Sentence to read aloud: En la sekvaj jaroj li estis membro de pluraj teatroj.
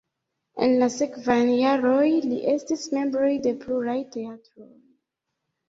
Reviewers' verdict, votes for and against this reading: rejected, 1, 2